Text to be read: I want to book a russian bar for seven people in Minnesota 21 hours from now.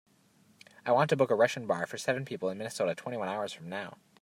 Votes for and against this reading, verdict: 0, 2, rejected